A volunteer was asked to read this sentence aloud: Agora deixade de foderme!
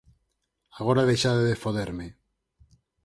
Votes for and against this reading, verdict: 4, 0, accepted